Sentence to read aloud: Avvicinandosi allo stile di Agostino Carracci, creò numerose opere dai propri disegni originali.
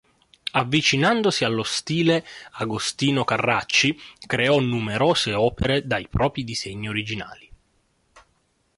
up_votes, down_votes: 1, 2